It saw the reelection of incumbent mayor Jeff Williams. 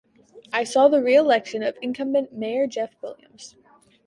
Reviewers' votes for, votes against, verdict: 1, 2, rejected